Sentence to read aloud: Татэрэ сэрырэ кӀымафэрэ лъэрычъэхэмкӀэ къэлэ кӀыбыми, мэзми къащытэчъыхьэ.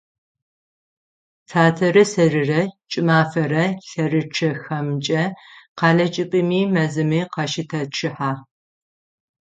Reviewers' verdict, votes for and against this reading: accepted, 9, 0